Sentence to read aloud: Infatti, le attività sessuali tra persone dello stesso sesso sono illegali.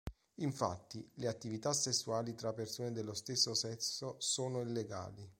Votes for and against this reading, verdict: 2, 0, accepted